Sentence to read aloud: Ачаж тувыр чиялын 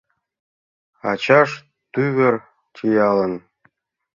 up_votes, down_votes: 0, 2